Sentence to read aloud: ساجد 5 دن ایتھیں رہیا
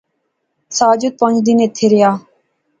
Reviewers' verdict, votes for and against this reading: rejected, 0, 2